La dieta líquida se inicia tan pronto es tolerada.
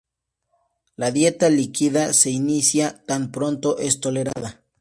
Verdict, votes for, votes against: accepted, 2, 0